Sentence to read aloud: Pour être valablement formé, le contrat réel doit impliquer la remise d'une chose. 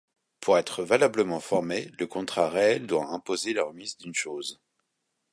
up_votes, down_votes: 0, 2